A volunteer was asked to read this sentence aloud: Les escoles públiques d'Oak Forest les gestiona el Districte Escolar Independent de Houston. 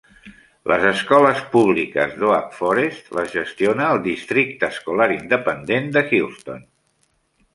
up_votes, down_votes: 3, 1